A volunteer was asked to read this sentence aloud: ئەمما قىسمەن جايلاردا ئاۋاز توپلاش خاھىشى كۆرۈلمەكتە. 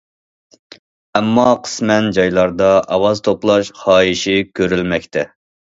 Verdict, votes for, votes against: accepted, 2, 0